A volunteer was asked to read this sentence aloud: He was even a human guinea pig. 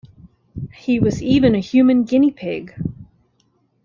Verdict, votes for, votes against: accepted, 2, 0